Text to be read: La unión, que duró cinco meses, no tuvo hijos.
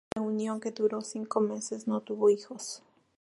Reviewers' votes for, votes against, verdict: 2, 0, accepted